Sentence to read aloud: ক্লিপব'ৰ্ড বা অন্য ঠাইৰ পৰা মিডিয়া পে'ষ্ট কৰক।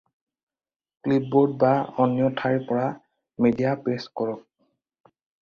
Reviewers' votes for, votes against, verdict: 4, 0, accepted